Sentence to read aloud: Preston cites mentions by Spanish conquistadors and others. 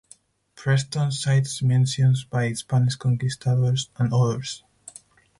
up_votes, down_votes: 4, 0